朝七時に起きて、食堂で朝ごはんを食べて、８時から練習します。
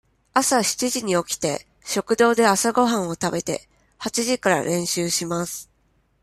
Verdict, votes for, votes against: rejected, 0, 2